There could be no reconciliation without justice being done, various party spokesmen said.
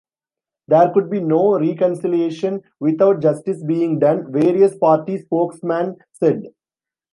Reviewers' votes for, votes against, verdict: 1, 2, rejected